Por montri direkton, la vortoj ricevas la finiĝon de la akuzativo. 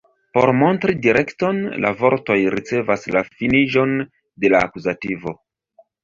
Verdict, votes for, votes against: rejected, 1, 2